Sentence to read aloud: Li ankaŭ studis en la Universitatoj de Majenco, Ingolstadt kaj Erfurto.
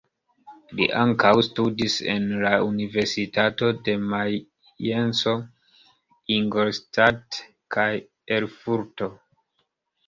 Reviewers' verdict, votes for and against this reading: accepted, 2, 1